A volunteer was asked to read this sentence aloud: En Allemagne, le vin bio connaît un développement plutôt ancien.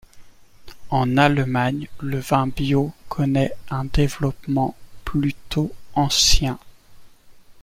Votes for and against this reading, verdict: 2, 0, accepted